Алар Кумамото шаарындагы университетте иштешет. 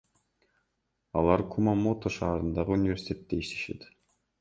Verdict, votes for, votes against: accepted, 3, 1